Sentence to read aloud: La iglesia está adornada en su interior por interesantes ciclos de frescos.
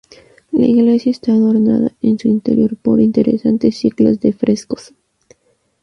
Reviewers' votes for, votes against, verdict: 0, 2, rejected